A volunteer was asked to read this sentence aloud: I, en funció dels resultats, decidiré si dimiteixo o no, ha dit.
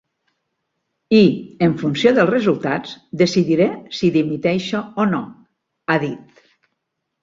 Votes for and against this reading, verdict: 4, 0, accepted